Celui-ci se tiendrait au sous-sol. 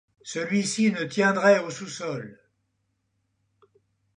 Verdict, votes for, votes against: rejected, 0, 2